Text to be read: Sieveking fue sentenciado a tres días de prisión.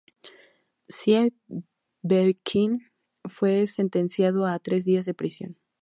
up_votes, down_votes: 0, 2